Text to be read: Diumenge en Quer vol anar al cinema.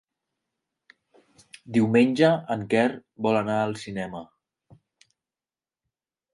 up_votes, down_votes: 5, 0